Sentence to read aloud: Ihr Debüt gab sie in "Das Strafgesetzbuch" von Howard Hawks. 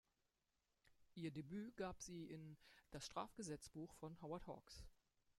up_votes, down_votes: 0, 2